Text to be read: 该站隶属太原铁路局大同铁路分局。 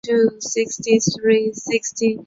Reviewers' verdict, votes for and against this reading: rejected, 0, 3